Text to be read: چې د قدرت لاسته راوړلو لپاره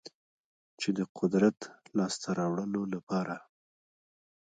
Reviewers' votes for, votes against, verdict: 0, 2, rejected